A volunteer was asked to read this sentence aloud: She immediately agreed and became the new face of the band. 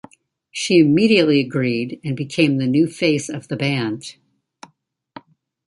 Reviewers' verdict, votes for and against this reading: accepted, 2, 0